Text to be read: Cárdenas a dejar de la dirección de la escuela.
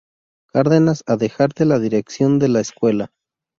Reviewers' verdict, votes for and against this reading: rejected, 0, 2